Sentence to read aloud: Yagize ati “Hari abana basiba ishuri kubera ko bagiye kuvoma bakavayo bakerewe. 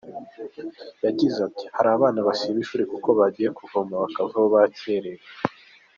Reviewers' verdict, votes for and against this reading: accepted, 3, 1